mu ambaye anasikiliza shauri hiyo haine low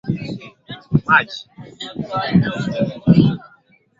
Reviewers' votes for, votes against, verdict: 1, 4, rejected